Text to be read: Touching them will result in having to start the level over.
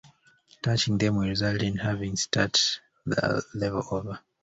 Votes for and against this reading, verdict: 1, 2, rejected